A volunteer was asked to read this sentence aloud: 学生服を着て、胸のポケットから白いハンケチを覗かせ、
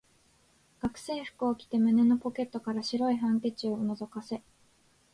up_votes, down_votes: 3, 0